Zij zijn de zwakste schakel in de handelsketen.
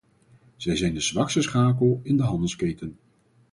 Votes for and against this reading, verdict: 4, 0, accepted